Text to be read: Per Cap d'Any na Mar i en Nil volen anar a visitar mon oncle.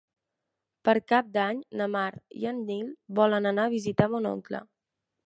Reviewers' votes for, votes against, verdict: 2, 0, accepted